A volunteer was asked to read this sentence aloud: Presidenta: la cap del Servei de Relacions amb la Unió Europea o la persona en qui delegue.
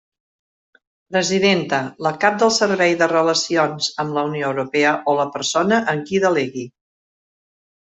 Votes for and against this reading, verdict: 1, 2, rejected